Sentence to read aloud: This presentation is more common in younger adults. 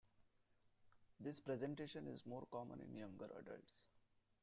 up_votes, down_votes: 0, 2